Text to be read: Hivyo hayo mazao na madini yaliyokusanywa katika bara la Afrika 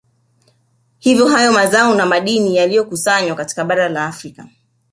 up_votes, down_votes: 2, 0